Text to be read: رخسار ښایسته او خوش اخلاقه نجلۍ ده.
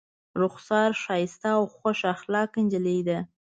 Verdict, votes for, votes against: accepted, 2, 0